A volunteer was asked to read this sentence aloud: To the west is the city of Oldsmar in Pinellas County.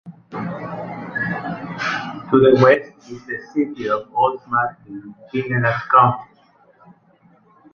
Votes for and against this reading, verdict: 1, 2, rejected